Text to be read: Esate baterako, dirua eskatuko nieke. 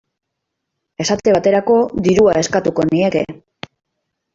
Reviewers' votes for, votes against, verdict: 4, 0, accepted